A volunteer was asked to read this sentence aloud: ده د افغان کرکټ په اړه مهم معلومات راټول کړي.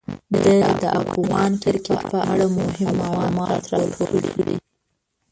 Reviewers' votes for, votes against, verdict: 1, 2, rejected